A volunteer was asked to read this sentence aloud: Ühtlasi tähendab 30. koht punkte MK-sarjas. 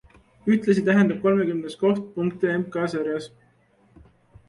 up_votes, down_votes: 0, 2